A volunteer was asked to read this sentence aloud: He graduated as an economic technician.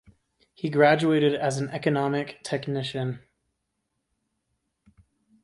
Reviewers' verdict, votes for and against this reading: accepted, 2, 0